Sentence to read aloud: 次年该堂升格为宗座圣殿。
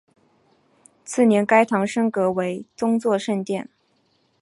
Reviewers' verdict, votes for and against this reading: rejected, 1, 2